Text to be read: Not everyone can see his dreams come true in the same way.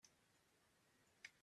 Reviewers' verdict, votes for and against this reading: rejected, 0, 3